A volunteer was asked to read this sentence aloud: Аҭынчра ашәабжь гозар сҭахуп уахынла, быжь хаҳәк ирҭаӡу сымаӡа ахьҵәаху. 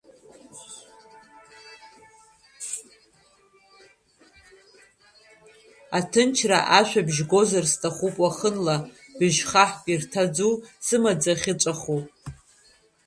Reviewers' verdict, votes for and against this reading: rejected, 0, 2